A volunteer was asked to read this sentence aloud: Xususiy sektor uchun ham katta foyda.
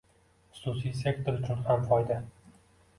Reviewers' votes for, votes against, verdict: 1, 2, rejected